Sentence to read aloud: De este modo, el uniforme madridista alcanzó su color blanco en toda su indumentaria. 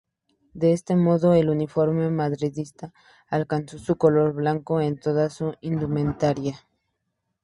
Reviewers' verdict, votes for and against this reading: accepted, 4, 0